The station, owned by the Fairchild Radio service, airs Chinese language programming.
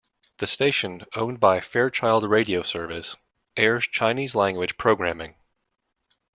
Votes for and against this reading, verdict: 1, 2, rejected